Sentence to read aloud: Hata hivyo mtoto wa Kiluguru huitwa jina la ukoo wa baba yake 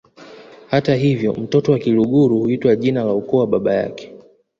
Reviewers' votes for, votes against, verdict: 1, 2, rejected